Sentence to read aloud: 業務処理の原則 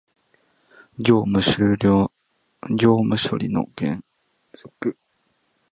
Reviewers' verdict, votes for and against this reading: rejected, 1, 2